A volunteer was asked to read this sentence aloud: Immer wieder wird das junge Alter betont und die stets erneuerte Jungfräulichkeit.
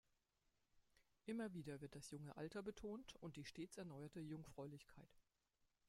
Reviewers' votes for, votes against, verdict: 1, 2, rejected